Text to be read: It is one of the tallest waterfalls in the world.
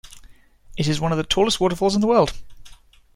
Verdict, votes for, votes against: accepted, 2, 0